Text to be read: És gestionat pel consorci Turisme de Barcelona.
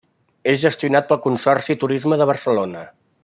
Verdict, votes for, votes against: accepted, 2, 0